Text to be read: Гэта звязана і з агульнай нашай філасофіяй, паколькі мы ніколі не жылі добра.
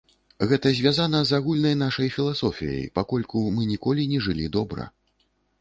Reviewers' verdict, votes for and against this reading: rejected, 1, 2